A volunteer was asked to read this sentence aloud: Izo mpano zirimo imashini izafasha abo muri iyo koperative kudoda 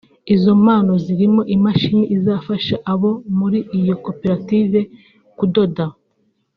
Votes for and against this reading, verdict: 2, 0, accepted